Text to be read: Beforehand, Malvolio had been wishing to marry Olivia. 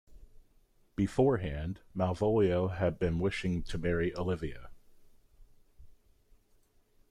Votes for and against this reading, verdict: 2, 0, accepted